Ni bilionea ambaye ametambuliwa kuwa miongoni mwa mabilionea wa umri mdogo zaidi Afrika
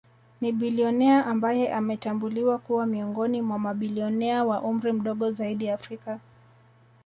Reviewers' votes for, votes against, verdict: 1, 2, rejected